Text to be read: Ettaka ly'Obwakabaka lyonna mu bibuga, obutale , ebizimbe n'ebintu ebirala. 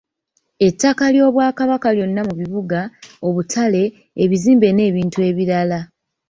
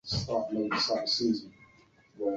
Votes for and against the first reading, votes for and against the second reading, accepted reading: 2, 0, 0, 2, first